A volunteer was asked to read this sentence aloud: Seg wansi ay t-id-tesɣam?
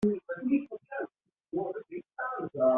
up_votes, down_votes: 0, 2